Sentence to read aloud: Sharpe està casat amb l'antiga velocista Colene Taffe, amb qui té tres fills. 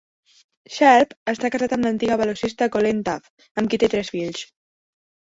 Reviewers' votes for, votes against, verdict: 0, 2, rejected